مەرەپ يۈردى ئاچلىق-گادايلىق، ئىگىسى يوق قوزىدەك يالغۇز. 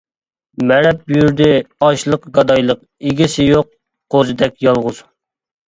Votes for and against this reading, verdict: 2, 0, accepted